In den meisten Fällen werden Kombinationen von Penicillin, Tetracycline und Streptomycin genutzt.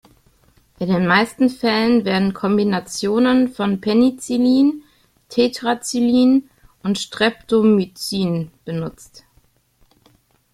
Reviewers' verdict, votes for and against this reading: rejected, 0, 2